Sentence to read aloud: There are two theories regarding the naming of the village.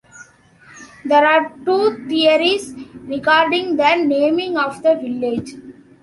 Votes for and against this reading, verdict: 2, 0, accepted